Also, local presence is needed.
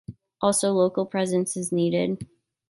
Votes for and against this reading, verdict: 2, 0, accepted